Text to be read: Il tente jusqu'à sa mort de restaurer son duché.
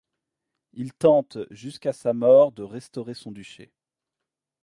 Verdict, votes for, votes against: accepted, 2, 0